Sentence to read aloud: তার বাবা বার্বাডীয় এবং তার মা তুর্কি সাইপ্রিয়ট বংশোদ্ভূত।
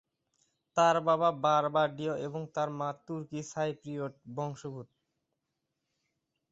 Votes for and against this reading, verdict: 2, 1, accepted